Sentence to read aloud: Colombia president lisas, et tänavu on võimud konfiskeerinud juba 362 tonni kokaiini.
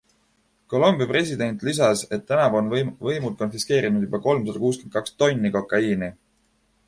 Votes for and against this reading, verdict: 0, 2, rejected